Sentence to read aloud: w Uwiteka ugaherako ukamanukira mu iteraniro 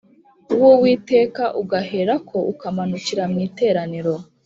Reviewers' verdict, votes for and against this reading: accepted, 2, 0